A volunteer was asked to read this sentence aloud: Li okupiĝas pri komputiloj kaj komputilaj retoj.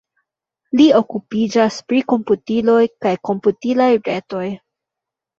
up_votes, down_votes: 2, 1